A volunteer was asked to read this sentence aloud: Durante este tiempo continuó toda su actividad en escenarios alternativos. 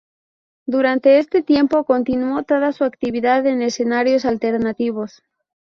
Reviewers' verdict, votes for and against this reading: accepted, 2, 0